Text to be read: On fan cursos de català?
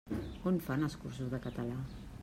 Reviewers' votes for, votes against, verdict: 0, 2, rejected